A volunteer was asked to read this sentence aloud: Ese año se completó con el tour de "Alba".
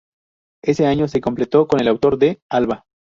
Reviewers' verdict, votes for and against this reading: rejected, 0, 4